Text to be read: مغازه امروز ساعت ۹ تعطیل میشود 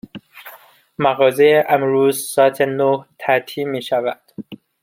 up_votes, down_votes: 0, 2